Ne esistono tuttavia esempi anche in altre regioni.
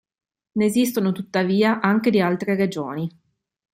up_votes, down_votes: 0, 2